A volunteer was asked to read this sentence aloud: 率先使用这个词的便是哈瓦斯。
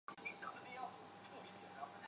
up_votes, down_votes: 0, 3